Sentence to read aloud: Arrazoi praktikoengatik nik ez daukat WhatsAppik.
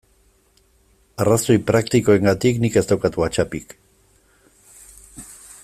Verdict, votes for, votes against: accepted, 2, 0